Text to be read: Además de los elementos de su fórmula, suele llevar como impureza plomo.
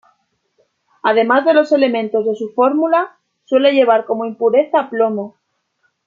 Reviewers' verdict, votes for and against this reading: accepted, 2, 0